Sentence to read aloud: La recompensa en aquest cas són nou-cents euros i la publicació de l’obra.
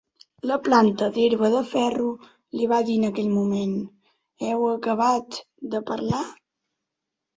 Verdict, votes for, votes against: rejected, 0, 2